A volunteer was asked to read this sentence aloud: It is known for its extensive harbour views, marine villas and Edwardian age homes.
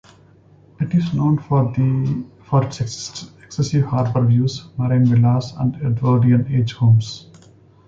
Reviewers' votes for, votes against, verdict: 0, 2, rejected